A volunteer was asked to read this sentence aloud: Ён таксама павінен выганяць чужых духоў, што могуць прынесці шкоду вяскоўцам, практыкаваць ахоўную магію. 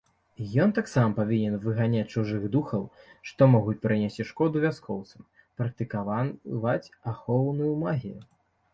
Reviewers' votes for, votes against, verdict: 0, 2, rejected